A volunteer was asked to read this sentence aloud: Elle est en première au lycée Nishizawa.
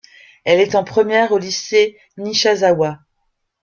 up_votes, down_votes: 0, 2